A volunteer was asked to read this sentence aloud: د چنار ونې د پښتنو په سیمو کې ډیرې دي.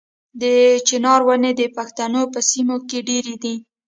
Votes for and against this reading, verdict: 2, 1, accepted